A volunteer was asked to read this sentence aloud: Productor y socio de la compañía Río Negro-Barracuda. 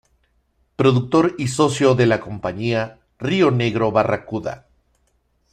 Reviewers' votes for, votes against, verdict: 2, 0, accepted